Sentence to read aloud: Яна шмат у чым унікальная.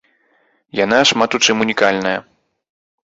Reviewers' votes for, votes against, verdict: 2, 0, accepted